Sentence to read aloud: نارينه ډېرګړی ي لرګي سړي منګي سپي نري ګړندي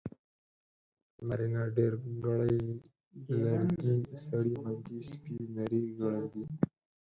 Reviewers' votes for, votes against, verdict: 0, 4, rejected